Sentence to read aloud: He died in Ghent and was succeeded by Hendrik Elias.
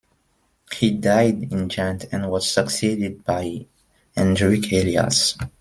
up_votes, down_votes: 1, 2